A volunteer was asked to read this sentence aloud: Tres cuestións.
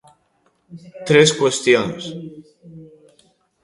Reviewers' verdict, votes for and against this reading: rejected, 1, 2